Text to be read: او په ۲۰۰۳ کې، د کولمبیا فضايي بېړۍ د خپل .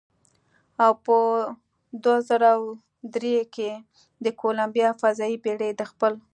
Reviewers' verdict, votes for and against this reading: rejected, 0, 2